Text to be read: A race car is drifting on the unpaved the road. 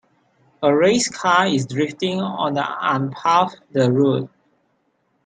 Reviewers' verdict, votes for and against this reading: rejected, 0, 3